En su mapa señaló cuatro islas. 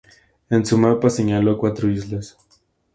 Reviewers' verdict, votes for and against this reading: accepted, 2, 0